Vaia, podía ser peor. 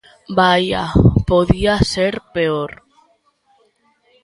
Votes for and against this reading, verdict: 2, 0, accepted